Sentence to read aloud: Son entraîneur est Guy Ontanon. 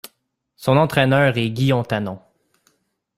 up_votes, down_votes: 2, 0